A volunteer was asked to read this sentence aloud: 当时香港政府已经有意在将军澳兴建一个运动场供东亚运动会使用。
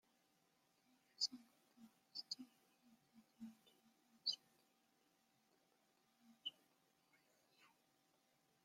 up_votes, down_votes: 0, 2